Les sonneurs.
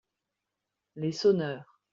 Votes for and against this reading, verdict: 2, 0, accepted